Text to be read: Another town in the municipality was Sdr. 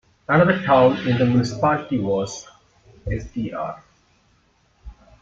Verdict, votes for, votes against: rejected, 1, 2